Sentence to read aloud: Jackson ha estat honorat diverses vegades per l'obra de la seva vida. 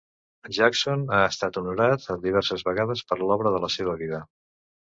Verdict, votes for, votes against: rejected, 1, 2